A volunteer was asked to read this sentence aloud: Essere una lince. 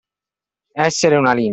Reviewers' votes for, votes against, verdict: 0, 2, rejected